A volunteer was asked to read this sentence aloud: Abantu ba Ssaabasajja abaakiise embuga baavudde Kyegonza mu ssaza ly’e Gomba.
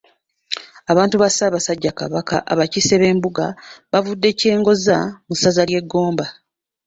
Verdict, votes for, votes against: rejected, 0, 2